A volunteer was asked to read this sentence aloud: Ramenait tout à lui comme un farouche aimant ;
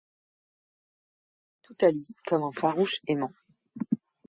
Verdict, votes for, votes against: rejected, 0, 2